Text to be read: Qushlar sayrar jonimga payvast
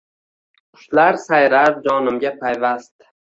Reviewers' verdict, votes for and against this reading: accepted, 2, 1